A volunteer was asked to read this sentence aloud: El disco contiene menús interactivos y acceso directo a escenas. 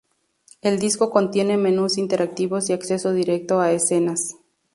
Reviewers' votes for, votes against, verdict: 2, 0, accepted